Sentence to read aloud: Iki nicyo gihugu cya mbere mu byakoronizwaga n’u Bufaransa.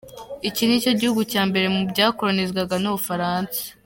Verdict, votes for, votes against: accepted, 2, 0